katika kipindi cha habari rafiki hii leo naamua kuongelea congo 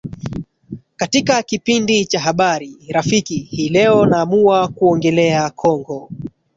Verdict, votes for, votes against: rejected, 1, 2